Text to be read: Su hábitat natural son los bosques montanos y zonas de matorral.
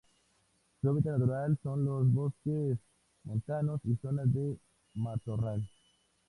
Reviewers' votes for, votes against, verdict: 4, 0, accepted